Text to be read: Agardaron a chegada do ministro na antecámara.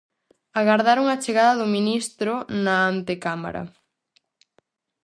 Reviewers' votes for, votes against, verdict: 4, 0, accepted